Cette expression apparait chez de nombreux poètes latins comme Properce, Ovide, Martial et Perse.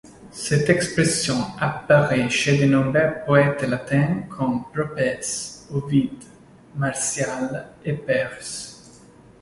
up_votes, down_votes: 0, 2